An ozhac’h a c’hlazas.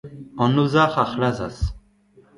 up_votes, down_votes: 2, 0